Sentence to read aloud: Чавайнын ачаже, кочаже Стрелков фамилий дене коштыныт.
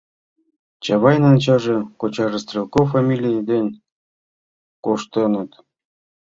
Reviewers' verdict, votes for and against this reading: accepted, 2, 1